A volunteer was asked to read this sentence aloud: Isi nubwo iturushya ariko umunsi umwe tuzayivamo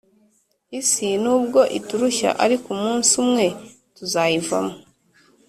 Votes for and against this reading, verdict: 3, 1, accepted